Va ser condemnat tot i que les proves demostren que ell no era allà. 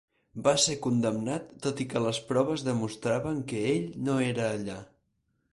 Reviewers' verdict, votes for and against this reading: rejected, 2, 4